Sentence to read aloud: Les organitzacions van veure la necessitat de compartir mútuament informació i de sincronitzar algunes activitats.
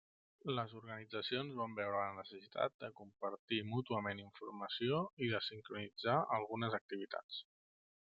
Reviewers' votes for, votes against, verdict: 1, 2, rejected